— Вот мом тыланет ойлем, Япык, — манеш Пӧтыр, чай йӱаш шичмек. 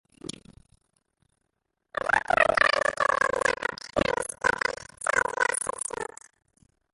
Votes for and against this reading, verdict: 0, 2, rejected